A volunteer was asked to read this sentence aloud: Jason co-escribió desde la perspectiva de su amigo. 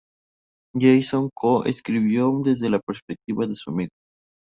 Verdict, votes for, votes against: accepted, 4, 0